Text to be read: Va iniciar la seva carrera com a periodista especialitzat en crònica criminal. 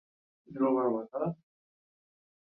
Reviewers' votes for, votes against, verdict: 0, 3, rejected